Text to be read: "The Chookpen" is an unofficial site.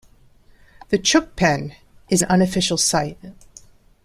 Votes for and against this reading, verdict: 0, 2, rejected